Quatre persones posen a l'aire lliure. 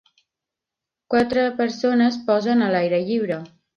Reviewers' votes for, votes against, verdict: 2, 0, accepted